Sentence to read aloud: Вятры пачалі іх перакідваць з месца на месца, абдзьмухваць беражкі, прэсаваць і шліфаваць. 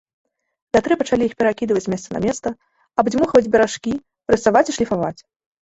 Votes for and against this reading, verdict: 2, 0, accepted